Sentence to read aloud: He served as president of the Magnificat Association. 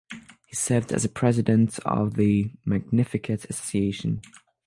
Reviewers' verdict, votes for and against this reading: accepted, 6, 0